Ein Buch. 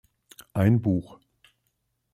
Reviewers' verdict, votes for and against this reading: accepted, 2, 0